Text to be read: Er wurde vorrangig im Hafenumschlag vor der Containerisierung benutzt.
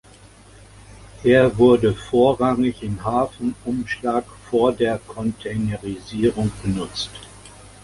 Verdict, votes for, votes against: accepted, 2, 0